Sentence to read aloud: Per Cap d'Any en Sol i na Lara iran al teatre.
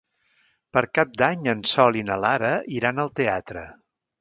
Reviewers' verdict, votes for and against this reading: accepted, 3, 0